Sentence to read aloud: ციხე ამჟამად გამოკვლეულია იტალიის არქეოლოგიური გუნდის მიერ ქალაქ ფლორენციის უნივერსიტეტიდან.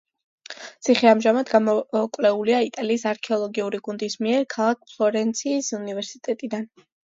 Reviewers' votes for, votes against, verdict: 2, 1, accepted